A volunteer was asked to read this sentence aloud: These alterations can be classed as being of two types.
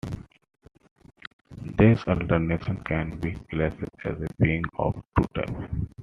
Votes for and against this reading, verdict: 1, 3, rejected